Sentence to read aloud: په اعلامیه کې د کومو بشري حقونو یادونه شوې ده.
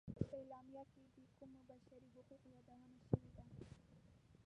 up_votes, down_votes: 0, 2